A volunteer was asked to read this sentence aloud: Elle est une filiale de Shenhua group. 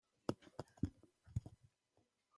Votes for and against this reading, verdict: 1, 2, rejected